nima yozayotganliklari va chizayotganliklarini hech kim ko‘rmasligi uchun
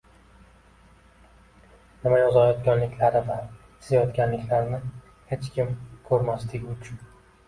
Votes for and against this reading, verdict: 1, 2, rejected